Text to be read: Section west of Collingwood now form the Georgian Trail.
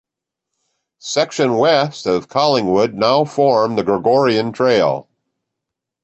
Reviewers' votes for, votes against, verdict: 1, 2, rejected